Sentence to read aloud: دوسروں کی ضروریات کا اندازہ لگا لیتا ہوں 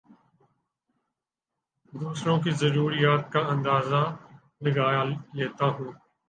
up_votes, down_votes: 2, 2